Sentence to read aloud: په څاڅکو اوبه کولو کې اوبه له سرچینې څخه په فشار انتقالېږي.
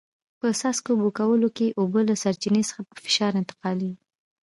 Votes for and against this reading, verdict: 2, 0, accepted